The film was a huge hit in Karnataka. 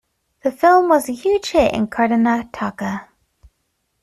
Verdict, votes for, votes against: accepted, 2, 0